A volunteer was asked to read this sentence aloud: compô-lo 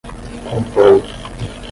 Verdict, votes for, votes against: rejected, 5, 10